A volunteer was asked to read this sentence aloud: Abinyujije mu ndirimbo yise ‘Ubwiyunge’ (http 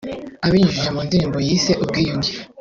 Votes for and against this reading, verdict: 1, 3, rejected